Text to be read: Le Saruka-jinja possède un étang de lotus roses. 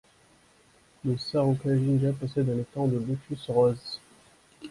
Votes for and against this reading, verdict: 1, 2, rejected